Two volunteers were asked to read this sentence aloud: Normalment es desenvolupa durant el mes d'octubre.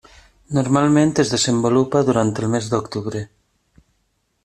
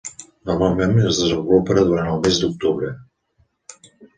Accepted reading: second